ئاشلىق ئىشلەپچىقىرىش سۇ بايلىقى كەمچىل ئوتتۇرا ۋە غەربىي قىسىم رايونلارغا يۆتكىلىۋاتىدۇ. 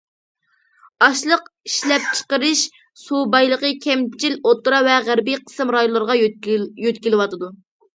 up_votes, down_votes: 0, 2